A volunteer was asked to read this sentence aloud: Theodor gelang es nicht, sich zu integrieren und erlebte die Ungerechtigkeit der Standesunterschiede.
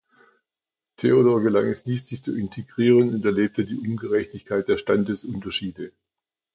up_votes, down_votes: 2, 0